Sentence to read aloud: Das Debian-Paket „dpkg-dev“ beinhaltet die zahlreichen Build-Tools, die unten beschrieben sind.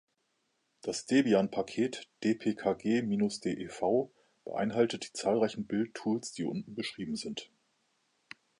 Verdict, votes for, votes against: rejected, 0, 2